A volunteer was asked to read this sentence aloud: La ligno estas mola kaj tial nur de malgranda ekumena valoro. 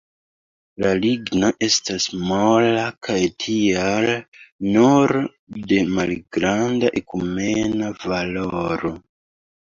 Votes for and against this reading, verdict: 2, 0, accepted